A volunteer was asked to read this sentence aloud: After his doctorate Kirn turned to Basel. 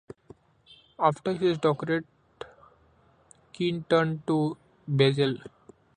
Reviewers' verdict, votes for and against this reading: rejected, 0, 3